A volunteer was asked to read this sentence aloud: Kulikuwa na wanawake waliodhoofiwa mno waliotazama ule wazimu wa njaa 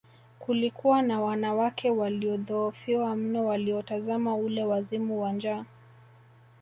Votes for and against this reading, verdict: 1, 2, rejected